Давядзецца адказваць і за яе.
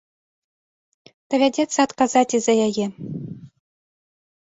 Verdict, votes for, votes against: rejected, 1, 2